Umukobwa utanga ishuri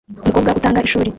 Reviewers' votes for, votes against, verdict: 0, 2, rejected